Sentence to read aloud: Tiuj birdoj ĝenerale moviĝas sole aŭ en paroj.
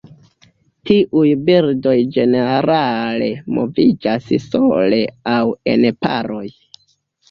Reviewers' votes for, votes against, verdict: 2, 0, accepted